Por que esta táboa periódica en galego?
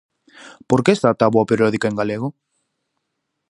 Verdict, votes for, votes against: rejected, 2, 2